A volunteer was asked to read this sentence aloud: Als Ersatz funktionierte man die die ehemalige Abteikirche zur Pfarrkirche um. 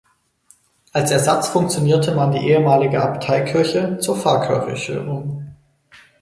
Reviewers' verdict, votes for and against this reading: accepted, 4, 0